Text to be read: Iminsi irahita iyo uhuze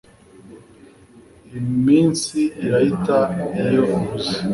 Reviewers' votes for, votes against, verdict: 2, 0, accepted